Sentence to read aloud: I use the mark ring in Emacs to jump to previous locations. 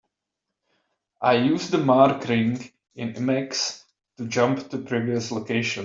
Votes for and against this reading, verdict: 0, 2, rejected